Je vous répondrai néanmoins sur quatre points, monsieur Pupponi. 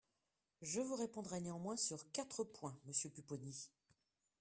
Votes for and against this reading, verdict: 2, 0, accepted